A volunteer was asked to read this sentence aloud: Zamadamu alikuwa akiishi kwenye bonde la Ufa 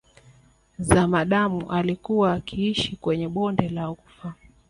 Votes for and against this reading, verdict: 2, 1, accepted